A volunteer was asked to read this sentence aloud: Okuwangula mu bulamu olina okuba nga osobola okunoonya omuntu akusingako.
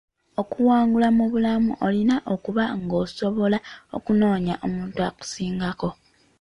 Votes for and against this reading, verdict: 1, 2, rejected